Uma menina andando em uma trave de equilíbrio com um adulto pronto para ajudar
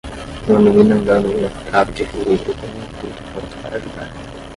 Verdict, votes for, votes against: rejected, 0, 5